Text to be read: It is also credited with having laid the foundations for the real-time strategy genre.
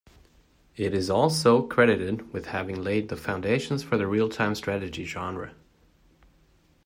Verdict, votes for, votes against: accepted, 2, 0